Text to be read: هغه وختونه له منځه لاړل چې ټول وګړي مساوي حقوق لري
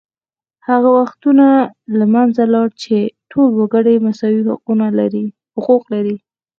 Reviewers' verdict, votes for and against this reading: accepted, 4, 2